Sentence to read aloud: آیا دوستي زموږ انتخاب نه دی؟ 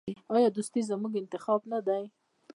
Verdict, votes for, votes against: rejected, 1, 2